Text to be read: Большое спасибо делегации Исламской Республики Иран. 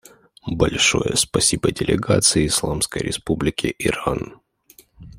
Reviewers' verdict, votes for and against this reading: rejected, 1, 2